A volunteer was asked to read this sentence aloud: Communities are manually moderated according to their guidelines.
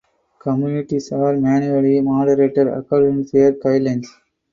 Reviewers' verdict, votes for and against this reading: rejected, 2, 2